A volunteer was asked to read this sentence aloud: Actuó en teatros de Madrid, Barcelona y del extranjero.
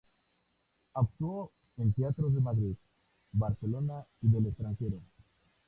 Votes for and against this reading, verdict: 2, 0, accepted